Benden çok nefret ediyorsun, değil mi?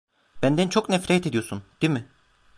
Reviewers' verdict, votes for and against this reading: rejected, 0, 2